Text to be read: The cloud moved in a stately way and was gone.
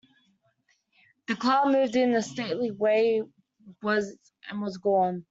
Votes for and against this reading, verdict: 1, 2, rejected